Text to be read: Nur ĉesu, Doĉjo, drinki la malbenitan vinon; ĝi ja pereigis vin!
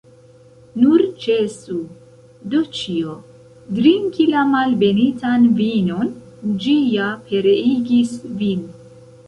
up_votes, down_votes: 1, 2